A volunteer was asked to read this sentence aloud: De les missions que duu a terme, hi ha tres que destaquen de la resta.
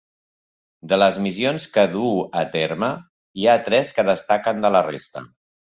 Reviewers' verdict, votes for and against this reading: rejected, 1, 2